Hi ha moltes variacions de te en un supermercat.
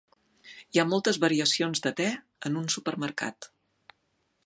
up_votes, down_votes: 3, 0